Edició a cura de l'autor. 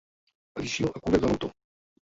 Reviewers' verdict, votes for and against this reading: rejected, 0, 2